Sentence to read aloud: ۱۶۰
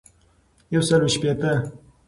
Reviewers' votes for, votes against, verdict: 0, 2, rejected